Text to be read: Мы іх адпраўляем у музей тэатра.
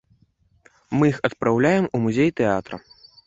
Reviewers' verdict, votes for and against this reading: accepted, 2, 0